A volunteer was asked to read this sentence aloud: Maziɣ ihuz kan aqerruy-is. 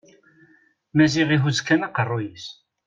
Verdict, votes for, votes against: accepted, 2, 0